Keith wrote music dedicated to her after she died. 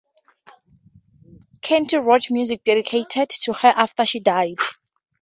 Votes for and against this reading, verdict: 2, 0, accepted